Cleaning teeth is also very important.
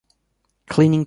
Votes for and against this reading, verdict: 0, 2, rejected